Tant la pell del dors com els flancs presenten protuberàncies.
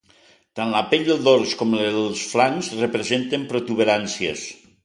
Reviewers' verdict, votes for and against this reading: rejected, 0, 2